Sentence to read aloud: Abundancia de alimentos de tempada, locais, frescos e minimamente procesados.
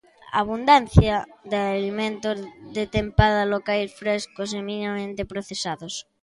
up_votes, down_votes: 2, 0